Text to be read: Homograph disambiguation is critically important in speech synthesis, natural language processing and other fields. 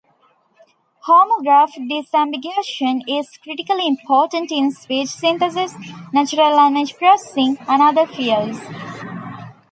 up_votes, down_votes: 0, 2